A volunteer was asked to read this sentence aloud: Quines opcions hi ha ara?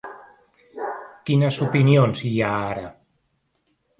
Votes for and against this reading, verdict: 1, 2, rejected